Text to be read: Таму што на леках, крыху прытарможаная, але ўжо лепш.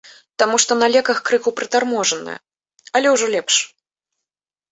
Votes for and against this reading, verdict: 2, 0, accepted